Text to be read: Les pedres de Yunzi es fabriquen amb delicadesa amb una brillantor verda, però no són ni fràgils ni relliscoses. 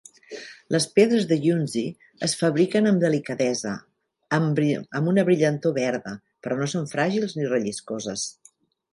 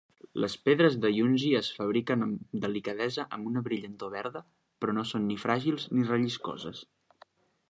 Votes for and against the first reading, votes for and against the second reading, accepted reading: 1, 2, 2, 0, second